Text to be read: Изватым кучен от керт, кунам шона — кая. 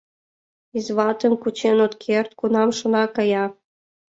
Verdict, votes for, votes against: accepted, 2, 0